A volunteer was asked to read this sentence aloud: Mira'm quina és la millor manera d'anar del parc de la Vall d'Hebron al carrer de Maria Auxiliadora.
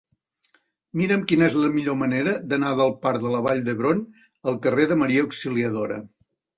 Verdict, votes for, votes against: accepted, 3, 0